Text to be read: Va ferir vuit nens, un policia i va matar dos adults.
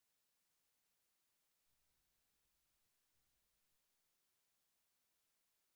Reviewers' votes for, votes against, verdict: 0, 2, rejected